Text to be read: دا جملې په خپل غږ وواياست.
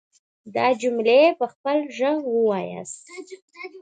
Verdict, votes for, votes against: accepted, 2, 0